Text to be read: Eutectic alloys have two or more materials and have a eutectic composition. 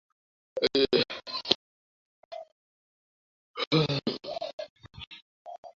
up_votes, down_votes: 0, 2